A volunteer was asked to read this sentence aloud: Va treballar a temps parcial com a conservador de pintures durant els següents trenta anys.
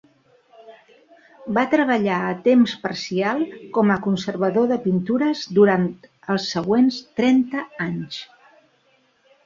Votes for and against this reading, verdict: 1, 2, rejected